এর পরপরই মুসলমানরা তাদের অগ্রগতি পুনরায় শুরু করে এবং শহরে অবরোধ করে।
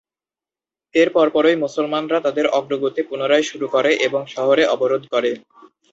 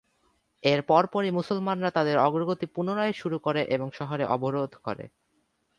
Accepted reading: first